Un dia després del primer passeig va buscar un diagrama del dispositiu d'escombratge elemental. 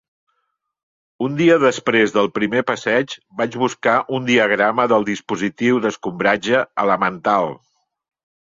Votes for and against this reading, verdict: 0, 2, rejected